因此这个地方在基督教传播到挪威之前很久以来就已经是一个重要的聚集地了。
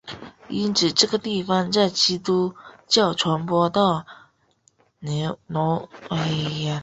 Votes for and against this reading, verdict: 2, 5, rejected